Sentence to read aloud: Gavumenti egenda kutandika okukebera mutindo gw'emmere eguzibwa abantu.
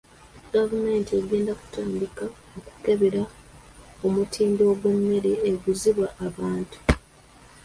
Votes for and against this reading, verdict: 2, 1, accepted